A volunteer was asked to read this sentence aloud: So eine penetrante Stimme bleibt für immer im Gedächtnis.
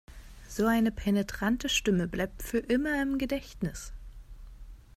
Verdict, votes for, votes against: accepted, 2, 0